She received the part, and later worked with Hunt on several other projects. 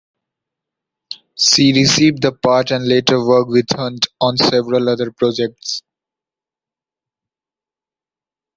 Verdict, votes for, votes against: accepted, 2, 0